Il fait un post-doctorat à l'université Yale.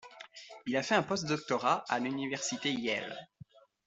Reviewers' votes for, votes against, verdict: 2, 0, accepted